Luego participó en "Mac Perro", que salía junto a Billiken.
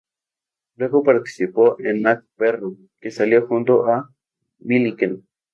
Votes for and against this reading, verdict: 0, 2, rejected